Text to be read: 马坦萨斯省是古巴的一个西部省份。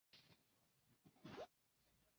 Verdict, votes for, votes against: rejected, 1, 3